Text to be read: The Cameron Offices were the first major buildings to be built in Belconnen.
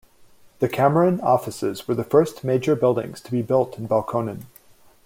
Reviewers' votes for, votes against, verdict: 2, 0, accepted